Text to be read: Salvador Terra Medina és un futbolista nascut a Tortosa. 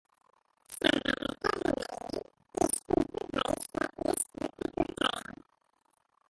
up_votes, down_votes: 0, 2